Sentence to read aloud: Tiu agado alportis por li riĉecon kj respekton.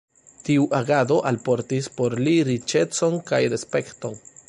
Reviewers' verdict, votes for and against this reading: rejected, 0, 2